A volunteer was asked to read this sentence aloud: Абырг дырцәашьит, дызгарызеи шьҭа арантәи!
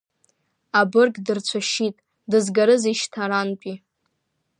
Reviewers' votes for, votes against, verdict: 1, 2, rejected